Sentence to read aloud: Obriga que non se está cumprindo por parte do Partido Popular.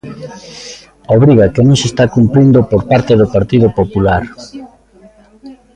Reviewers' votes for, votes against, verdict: 1, 2, rejected